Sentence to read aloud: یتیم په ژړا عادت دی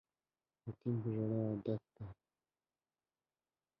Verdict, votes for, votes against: rejected, 1, 2